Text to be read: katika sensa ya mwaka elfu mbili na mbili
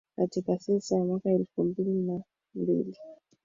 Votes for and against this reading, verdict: 1, 3, rejected